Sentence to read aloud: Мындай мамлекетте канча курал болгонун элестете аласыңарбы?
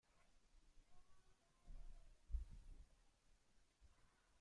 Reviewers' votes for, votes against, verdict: 0, 2, rejected